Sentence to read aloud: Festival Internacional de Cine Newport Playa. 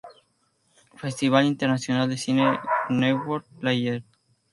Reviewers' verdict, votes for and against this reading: accepted, 2, 0